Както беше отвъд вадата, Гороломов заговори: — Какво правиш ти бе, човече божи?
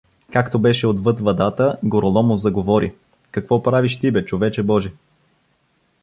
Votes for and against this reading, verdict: 1, 2, rejected